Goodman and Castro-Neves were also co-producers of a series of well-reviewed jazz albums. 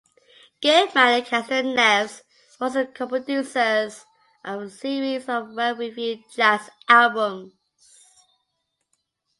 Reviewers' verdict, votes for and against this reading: accepted, 2, 0